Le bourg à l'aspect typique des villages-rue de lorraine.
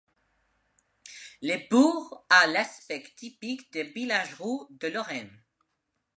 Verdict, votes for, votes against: rejected, 1, 2